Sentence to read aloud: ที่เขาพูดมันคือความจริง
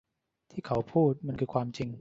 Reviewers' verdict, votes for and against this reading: rejected, 0, 2